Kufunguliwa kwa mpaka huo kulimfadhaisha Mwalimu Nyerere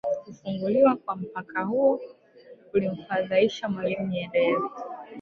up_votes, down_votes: 1, 2